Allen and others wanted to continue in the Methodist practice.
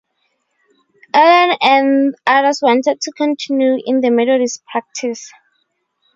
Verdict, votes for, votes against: rejected, 0, 2